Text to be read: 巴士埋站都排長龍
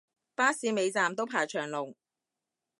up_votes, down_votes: 0, 2